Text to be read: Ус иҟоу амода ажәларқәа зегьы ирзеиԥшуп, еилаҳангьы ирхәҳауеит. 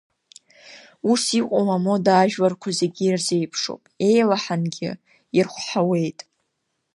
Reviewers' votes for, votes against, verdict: 2, 0, accepted